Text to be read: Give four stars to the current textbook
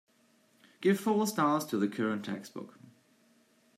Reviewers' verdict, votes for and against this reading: accepted, 2, 0